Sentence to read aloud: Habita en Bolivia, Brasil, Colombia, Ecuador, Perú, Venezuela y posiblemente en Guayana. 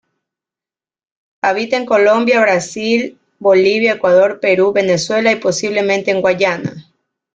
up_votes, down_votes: 1, 2